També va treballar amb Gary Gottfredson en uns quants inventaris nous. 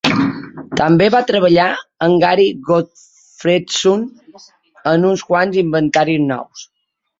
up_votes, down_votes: 0, 3